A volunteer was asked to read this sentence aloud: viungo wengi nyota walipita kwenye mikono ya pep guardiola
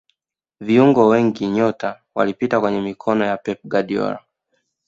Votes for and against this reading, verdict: 2, 0, accepted